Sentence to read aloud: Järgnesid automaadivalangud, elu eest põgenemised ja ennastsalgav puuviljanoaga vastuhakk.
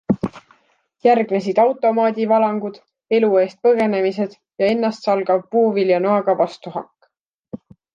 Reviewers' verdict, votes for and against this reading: accepted, 2, 0